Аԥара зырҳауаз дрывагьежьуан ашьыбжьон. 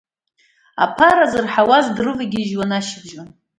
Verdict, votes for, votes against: accepted, 2, 1